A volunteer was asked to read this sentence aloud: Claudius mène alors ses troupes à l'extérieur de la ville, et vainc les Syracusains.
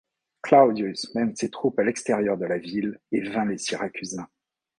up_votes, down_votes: 0, 2